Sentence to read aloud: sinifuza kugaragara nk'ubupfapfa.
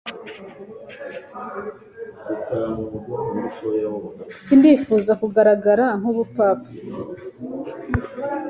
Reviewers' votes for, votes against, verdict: 1, 2, rejected